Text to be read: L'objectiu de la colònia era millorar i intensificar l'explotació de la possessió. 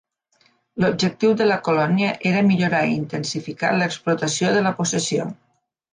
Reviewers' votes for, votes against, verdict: 2, 0, accepted